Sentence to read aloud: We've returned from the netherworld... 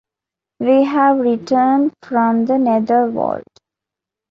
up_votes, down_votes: 2, 0